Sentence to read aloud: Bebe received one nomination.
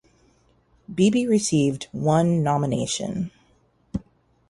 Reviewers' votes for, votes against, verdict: 0, 2, rejected